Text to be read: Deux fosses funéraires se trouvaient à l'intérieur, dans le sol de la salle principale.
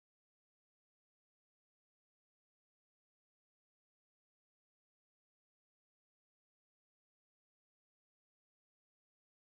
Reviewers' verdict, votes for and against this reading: rejected, 0, 3